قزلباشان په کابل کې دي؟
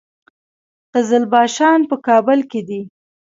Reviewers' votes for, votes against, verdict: 2, 0, accepted